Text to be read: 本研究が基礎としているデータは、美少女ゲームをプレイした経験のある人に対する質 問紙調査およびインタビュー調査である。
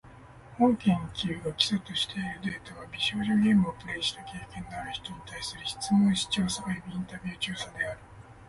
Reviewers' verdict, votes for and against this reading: accepted, 4, 0